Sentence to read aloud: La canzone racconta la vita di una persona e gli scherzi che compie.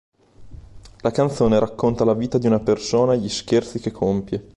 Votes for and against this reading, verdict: 3, 0, accepted